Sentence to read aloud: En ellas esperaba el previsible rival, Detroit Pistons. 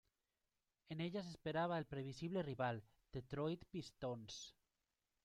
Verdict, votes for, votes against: accepted, 2, 0